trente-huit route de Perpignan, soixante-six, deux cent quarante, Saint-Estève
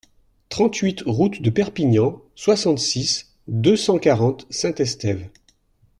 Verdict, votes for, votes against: accepted, 2, 0